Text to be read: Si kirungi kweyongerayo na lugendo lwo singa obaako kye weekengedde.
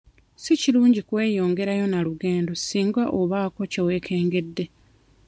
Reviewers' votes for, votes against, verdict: 1, 2, rejected